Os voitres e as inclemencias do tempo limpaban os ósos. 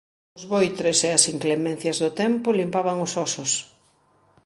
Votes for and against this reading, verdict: 2, 0, accepted